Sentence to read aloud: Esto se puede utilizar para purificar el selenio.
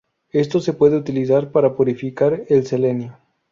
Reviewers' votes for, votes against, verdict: 4, 0, accepted